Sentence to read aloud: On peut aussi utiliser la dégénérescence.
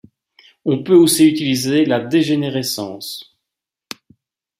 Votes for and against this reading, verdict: 3, 0, accepted